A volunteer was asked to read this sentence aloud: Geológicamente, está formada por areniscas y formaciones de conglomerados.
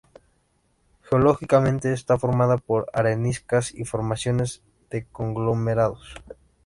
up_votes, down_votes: 2, 1